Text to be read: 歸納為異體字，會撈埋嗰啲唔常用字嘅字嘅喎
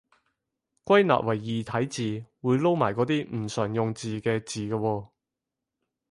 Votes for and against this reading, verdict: 4, 0, accepted